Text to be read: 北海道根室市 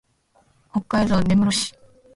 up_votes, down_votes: 2, 1